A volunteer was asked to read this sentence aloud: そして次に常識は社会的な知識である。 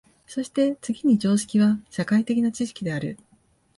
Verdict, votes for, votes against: accepted, 2, 0